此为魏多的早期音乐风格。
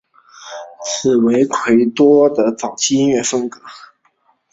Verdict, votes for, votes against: rejected, 1, 2